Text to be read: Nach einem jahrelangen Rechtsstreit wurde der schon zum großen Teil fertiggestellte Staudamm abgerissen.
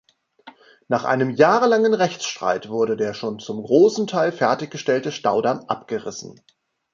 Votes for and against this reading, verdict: 2, 0, accepted